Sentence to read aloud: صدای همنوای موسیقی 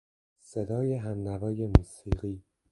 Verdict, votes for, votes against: accepted, 2, 0